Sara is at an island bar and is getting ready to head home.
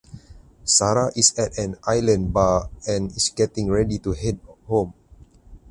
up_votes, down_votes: 4, 2